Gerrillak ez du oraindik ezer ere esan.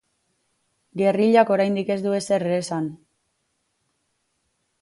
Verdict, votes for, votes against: rejected, 0, 4